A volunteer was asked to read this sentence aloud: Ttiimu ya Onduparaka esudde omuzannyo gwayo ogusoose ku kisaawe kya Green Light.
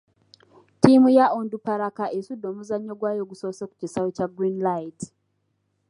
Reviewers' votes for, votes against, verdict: 2, 1, accepted